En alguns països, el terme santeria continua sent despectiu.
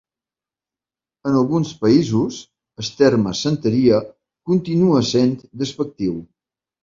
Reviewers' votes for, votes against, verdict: 2, 1, accepted